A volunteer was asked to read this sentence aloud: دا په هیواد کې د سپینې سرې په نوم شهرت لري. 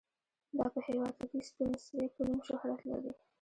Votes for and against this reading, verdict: 1, 2, rejected